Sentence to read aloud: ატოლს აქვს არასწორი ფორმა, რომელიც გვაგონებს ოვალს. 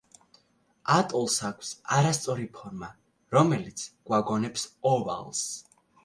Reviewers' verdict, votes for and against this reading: accepted, 2, 0